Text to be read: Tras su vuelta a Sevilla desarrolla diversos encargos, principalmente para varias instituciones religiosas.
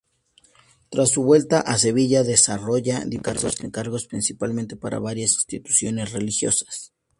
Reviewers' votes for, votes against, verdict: 2, 0, accepted